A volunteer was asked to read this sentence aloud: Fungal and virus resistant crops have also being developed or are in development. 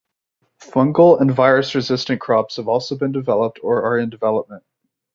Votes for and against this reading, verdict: 3, 0, accepted